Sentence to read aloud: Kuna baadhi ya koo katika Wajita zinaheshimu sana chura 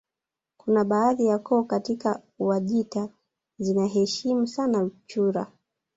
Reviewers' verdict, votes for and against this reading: rejected, 1, 2